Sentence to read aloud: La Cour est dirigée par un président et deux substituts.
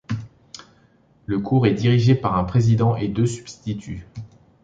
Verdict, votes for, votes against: rejected, 0, 2